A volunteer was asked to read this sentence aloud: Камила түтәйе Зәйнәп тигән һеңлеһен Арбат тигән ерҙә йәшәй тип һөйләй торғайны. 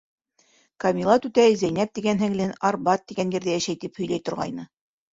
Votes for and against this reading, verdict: 1, 2, rejected